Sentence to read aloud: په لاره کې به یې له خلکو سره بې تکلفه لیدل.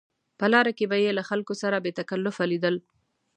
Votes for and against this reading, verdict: 2, 0, accepted